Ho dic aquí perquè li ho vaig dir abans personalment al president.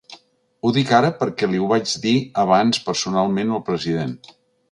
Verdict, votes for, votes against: rejected, 1, 2